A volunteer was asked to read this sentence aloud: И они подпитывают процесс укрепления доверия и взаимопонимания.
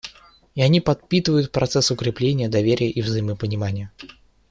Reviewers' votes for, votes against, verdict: 2, 0, accepted